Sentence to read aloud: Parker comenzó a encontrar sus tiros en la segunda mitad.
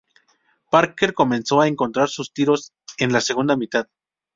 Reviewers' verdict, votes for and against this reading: accepted, 2, 0